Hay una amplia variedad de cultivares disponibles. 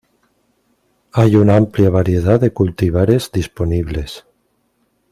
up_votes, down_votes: 1, 2